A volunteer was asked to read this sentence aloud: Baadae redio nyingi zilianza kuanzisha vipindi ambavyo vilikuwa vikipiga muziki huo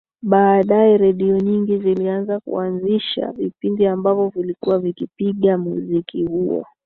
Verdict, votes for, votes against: accepted, 2, 0